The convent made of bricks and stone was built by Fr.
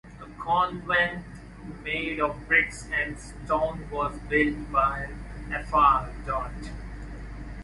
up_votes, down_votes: 0, 2